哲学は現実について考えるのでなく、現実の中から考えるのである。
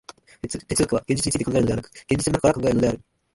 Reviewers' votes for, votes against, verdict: 0, 2, rejected